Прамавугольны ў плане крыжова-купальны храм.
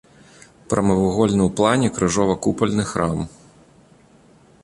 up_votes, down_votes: 2, 0